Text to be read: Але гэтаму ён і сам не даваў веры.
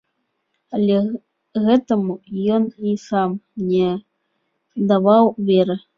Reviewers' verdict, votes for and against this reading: accepted, 2, 1